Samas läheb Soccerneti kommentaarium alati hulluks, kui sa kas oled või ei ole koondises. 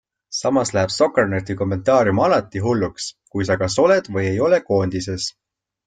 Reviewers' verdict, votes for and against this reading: accepted, 2, 0